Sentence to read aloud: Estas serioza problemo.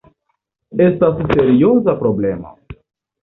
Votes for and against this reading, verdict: 2, 0, accepted